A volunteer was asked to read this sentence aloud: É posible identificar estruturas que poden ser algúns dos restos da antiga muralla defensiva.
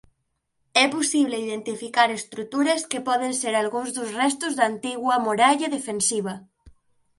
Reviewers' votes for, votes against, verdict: 0, 2, rejected